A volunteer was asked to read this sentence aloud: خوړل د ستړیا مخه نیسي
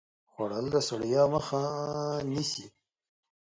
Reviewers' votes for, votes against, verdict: 1, 3, rejected